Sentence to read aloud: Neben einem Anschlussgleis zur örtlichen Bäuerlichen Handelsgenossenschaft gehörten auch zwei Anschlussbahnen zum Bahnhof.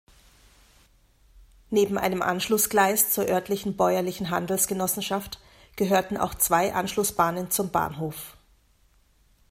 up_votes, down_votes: 2, 0